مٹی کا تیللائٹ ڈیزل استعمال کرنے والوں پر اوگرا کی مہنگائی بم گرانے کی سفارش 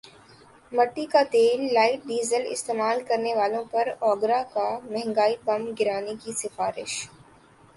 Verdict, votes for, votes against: rejected, 2, 3